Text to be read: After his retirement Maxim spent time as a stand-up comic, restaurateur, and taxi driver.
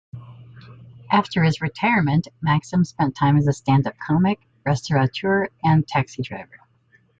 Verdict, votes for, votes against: accepted, 2, 0